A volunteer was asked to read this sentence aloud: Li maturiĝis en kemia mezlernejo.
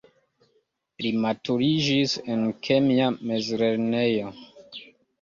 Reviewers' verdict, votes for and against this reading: accepted, 2, 1